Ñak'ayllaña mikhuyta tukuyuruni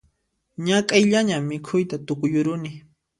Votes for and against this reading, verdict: 2, 0, accepted